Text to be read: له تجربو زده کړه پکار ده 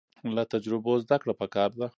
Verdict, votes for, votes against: rejected, 1, 2